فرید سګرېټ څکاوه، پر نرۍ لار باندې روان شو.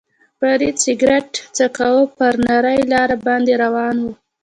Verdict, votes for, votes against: rejected, 0, 2